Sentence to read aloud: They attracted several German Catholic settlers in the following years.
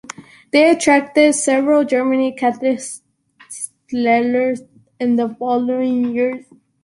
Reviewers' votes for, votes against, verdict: 0, 3, rejected